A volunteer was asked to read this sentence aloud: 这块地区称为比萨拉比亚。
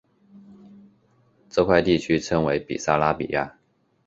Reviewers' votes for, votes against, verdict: 2, 0, accepted